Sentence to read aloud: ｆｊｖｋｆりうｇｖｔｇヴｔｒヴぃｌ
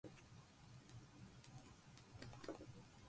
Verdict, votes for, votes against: rejected, 0, 6